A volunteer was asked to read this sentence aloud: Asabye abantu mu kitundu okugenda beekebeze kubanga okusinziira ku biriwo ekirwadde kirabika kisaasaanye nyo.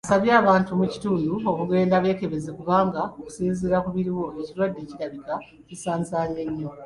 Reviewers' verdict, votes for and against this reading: rejected, 0, 2